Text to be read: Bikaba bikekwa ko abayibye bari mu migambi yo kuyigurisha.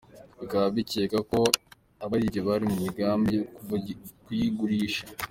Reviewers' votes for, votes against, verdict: 0, 2, rejected